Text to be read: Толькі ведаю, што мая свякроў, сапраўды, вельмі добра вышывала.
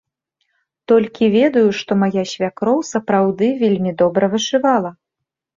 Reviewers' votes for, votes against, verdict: 2, 0, accepted